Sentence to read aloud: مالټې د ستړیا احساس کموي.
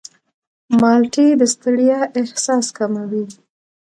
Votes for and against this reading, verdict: 1, 2, rejected